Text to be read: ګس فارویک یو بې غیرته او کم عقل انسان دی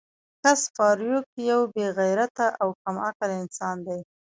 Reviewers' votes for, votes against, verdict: 1, 2, rejected